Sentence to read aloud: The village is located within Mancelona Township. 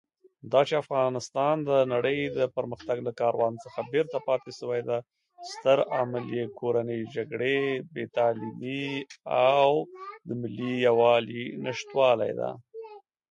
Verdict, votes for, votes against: rejected, 0, 2